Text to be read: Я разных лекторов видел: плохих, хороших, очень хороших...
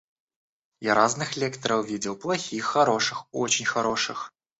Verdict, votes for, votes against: accepted, 2, 0